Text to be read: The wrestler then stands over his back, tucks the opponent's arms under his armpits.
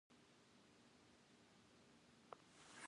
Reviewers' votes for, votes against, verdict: 0, 2, rejected